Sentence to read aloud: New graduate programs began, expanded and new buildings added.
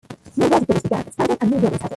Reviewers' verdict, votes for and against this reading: rejected, 0, 2